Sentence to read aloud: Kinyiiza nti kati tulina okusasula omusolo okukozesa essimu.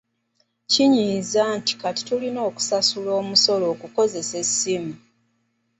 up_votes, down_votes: 2, 0